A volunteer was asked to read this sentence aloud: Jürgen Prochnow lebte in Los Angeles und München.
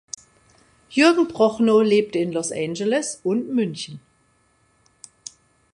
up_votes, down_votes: 2, 0